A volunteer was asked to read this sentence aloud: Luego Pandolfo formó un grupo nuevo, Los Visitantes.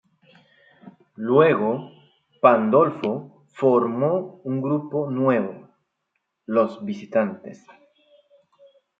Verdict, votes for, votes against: rejected, 1, 2